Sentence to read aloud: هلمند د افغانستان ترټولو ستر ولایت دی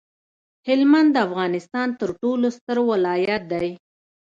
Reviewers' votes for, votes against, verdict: 2, 0, accepted